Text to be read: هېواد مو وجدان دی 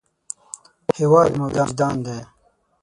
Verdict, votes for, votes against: rejected, 0, 6